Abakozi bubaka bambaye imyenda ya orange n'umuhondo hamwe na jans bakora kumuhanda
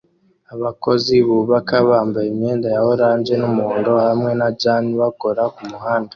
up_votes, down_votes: 2, 0